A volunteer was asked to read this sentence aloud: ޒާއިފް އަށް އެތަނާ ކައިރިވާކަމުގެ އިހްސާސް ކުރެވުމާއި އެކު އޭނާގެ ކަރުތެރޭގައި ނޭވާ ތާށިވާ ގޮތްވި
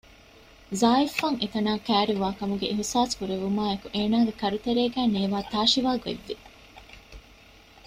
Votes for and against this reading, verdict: 2, 0, accepted